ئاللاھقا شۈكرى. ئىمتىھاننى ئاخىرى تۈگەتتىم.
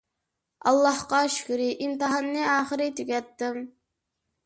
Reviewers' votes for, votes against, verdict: 2, 0, accepted